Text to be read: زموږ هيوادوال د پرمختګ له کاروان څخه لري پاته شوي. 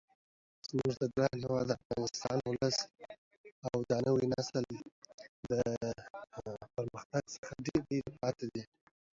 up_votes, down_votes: 0, 2